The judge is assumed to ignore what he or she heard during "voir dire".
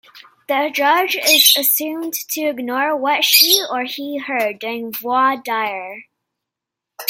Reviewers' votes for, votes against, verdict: 0, 2, rejected